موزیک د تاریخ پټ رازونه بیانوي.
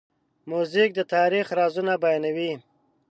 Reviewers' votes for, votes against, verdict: 0, 2, rejected